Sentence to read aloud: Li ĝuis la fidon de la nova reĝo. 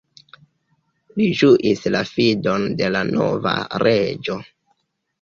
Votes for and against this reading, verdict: 0, 2, rejected